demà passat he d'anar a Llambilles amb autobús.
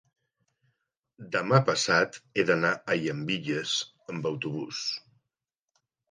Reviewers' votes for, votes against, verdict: 2, 0, accepted